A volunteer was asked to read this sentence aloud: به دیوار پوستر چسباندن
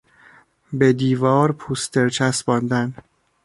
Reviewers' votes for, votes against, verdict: 2, 0, accepted